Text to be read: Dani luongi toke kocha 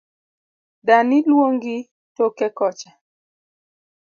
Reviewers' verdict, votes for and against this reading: accepted, 2, 0